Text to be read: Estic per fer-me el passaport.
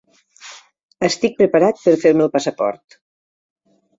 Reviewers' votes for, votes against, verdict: 0, 2, rejected